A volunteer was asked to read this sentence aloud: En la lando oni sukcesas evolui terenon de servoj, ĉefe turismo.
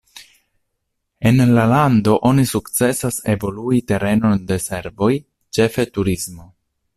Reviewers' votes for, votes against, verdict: 2, 1, accepted